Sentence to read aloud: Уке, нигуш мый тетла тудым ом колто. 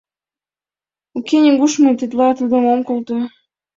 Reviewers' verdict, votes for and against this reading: accepted, 2, 0